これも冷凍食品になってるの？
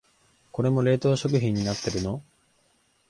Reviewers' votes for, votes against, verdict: 2, 0, accepted